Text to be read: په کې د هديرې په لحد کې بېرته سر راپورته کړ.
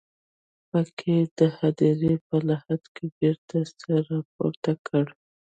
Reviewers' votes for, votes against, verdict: 0, 2, rejected